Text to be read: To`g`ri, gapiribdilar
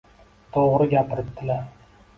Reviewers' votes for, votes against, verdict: 2, 0, accepted